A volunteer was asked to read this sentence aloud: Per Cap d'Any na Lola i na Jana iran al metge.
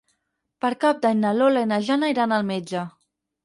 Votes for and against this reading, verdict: 4, 0, accepted